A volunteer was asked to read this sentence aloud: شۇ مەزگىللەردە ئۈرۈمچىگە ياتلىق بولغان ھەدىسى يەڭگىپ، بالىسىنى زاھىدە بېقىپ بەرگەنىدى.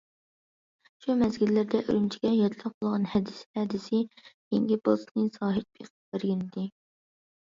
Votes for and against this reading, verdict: 0, 2, rejected